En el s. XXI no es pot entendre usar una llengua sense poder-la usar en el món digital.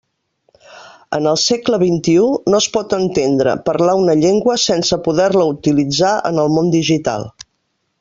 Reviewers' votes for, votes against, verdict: 0, 2, rejected